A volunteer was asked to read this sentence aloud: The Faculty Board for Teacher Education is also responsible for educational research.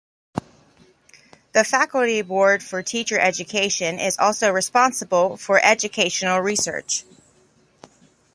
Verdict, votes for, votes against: accepted, 2, 0